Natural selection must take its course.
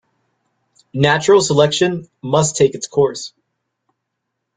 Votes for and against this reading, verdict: 2, 0, accepted